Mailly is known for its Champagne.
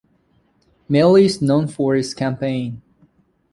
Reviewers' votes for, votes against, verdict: 0, 2, rejected